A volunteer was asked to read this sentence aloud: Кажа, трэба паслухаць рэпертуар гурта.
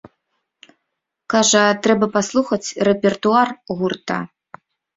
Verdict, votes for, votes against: accepted, 2, 0